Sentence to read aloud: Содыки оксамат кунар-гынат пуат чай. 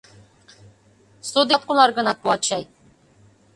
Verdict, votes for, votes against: rejected, 0, 2